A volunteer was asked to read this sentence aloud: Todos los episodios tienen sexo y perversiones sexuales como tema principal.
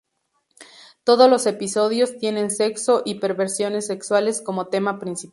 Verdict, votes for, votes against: accepted, 2, 0